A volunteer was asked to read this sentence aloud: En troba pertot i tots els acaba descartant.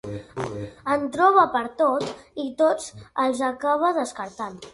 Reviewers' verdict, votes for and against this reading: accepted, 2, 0